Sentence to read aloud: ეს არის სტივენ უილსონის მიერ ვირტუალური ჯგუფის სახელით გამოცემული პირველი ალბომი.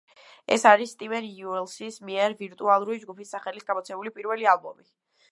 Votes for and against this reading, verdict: 0, 2, rejected